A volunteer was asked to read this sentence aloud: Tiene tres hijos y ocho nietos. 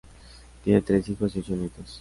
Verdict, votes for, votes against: accepted, 2, 0